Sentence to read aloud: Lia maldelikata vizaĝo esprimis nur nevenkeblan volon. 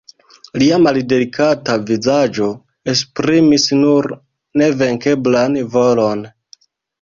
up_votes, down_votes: 2, 0